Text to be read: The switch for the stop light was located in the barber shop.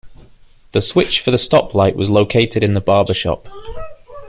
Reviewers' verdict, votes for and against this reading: accepted, 2, 0